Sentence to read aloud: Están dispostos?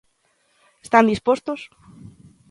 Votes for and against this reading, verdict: 2, 0, accepted